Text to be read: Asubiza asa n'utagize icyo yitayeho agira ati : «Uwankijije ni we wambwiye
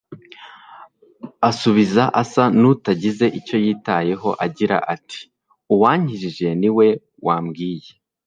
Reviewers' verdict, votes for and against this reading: rejected, 1, 2